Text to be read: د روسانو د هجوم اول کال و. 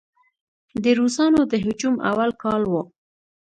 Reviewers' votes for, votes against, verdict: 2, 0, accepted